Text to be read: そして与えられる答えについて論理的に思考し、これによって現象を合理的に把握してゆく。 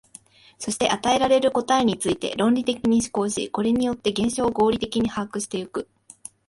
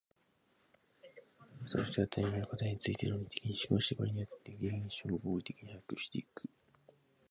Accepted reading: first